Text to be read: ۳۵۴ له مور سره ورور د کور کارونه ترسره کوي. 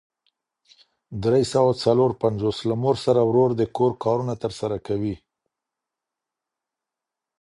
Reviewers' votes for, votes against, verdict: 0, 2, rejected